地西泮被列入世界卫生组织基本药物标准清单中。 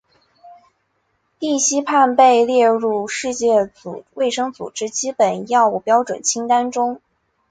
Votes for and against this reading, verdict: 2, 1, accepted